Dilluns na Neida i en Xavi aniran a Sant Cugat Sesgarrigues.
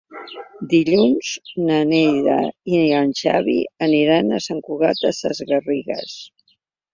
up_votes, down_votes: 0, 2